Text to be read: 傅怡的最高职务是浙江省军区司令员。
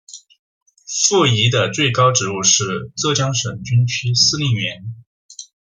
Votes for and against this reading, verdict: 2, 0, accepted